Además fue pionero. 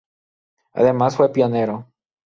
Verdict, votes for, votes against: accepted, 2, 0